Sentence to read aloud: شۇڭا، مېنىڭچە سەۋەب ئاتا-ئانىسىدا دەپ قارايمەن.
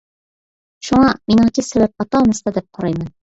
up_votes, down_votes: 2, 0